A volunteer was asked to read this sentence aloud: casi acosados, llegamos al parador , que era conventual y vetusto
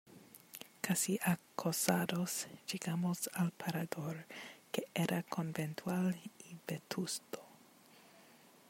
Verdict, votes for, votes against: accepted, 2, 0